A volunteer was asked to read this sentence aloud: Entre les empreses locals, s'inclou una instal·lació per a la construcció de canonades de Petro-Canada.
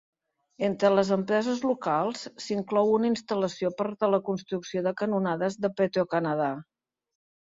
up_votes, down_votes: 1, 2